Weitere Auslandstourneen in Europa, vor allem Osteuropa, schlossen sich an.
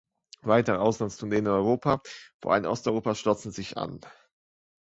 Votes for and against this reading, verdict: 2, 1, accepted